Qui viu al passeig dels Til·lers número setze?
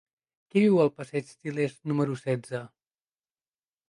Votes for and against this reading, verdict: 0, 2, rejected